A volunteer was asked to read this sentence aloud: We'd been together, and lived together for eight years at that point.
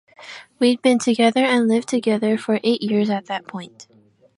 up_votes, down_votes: 2, 0